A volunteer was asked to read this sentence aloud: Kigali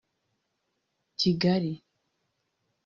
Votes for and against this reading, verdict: 1, 2, rejected